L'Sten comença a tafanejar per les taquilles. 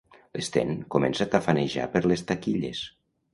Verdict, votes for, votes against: accepted, 2, 0